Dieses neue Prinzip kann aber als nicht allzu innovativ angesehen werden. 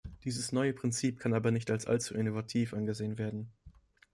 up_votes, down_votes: 1, 2